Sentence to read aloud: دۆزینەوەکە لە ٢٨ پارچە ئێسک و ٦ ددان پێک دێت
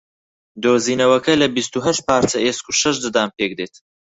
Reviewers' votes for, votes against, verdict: 0, 2, rejected